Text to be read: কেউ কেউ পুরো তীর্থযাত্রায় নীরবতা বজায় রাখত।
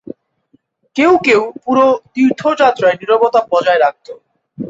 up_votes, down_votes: 2, 0